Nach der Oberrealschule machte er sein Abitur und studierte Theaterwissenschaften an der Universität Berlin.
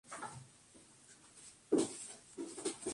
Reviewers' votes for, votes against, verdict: 0, 2, rejected